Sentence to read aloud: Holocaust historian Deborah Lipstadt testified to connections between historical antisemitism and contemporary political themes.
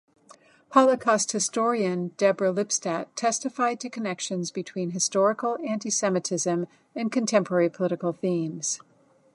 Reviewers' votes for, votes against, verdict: 2, 0, accepted